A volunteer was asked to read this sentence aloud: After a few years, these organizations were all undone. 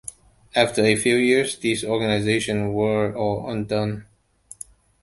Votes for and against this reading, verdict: 2, 0, accepted